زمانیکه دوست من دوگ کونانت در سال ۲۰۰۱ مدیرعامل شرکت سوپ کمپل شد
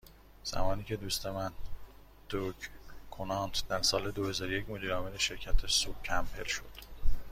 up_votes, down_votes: 0, 2